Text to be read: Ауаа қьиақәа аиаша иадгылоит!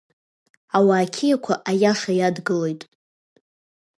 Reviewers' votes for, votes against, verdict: 2, 0, accepted